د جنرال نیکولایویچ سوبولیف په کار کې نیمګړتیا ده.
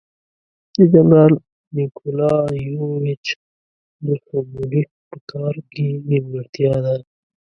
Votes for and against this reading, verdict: 0, 2, rejected